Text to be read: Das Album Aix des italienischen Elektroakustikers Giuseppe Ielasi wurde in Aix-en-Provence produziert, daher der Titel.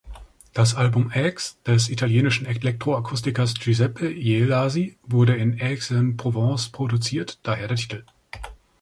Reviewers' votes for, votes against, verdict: 0, 2, rejected